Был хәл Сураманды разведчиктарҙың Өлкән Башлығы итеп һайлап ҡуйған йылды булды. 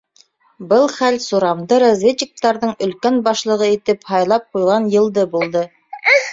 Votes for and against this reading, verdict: 1, 2, rejected